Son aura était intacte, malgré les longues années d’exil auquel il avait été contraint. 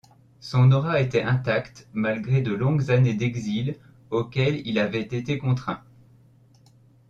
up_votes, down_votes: 0, 2